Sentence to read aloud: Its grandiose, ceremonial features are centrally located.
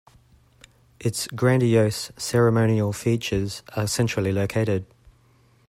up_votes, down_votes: 2, 0